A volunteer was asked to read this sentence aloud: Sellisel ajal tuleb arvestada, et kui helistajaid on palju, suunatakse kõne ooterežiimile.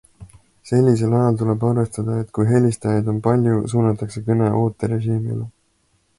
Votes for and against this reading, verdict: 2, 0, accepted